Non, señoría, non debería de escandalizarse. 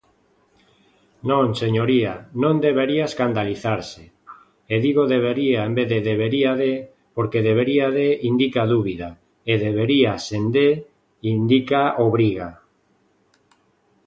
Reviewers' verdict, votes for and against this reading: rejected, 0, 2